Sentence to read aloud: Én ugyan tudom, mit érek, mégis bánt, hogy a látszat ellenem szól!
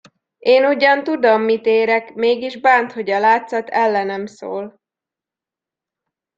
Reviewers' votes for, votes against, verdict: 2, 0, accepted